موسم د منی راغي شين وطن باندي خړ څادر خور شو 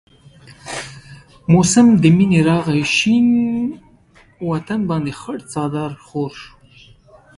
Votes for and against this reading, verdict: 2, 1, accepted